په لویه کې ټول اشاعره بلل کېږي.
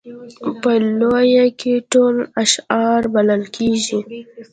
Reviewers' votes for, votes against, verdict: 2, 0, accepted